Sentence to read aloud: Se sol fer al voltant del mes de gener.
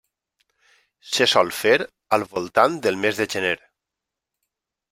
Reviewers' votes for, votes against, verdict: 3, 0, accepted